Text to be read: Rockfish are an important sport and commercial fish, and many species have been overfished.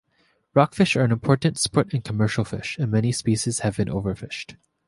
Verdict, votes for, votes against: accepted, 2, 1